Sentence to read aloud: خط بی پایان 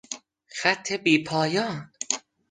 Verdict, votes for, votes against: accepted, 2, 0